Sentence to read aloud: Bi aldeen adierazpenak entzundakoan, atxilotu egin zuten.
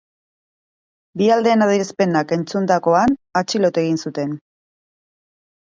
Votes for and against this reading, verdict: 1, 2, rejected